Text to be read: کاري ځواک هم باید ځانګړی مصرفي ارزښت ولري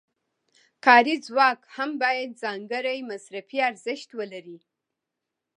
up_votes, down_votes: 2, 0